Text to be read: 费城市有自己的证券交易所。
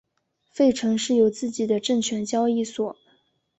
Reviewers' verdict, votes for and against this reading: accepted, 3, 0